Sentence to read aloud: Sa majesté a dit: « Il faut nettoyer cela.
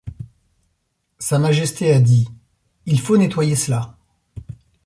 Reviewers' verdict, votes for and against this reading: accepted, 2, 0